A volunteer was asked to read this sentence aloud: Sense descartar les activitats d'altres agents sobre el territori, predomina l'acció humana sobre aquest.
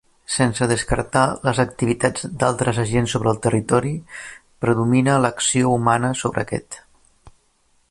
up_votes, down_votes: 3, 0